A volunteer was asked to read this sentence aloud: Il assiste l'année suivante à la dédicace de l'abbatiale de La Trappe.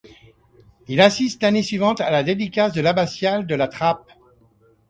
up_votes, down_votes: 2, 0